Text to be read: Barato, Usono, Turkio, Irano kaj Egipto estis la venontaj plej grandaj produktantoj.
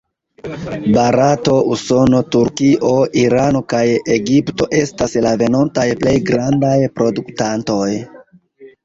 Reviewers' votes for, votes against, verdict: 2, 1, accepted